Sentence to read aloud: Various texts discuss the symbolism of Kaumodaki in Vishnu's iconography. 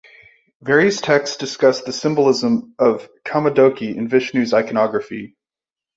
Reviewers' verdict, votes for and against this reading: accepted, 3, 0